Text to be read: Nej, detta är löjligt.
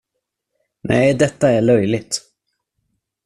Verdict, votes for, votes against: rejected, 0, 2